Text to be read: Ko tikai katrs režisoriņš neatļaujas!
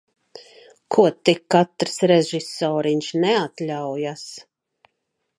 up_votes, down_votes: 1, 2